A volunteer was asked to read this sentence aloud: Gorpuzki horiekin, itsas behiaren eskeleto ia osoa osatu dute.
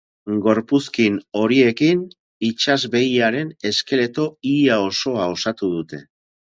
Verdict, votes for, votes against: rejected, 0, 4